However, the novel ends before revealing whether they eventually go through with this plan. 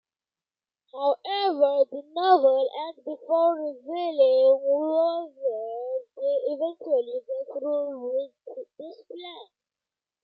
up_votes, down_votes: 2, 0